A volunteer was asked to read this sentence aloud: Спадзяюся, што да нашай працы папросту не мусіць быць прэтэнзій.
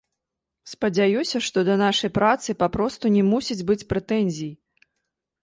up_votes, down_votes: 2, 1